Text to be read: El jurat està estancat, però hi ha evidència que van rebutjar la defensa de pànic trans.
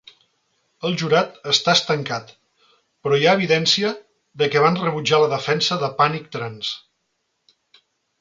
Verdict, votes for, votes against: rejected, 0, 2